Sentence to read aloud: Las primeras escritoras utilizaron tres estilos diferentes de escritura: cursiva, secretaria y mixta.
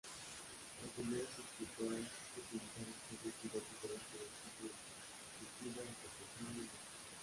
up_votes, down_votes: 0, 2